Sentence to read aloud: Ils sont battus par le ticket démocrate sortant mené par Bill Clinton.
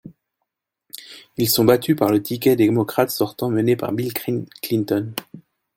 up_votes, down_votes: 0, 2